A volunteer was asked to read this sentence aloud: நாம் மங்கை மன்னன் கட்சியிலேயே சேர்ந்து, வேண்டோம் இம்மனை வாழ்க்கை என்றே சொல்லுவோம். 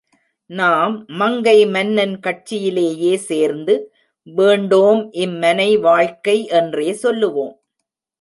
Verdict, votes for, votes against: accepted, 2, 0